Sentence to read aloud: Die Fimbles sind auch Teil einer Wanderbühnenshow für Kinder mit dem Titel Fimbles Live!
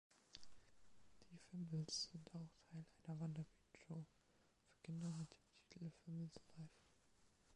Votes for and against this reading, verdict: 0, 2, rejected